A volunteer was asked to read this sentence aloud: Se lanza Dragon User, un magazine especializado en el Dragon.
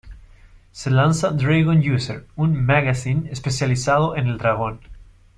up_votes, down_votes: 2, 1